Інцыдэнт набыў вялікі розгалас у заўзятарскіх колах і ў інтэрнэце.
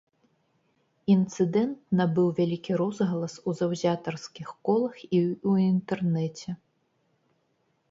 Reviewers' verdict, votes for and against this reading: rejected, 0, 2